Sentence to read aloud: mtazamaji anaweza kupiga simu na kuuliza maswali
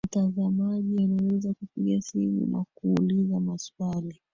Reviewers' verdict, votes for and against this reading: rejected, 1, 2